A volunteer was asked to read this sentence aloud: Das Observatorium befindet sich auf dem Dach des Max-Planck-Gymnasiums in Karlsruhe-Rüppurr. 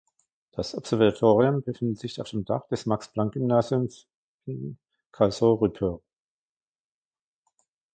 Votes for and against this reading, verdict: 1, 2, rejected